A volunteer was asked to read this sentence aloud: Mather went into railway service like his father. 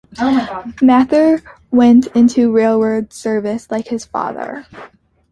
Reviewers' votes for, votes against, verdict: 0, 2, rejected